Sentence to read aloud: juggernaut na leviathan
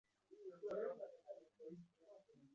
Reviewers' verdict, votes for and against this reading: rejected, 0, 2